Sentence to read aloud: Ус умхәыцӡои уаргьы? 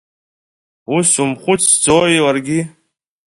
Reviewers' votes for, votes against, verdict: 2, 0, accepted